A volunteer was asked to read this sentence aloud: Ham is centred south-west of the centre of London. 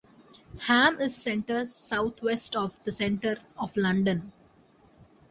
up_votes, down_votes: 2, 0